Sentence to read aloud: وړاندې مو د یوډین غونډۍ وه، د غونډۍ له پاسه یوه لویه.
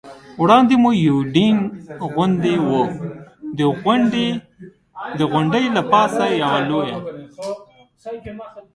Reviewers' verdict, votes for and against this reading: rejected, 1, 2